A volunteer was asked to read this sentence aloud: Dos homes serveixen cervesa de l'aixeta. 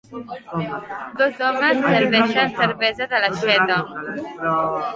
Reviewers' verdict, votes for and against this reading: rejected, 0, 2